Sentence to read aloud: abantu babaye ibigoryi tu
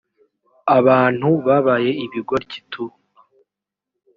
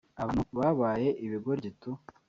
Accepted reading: first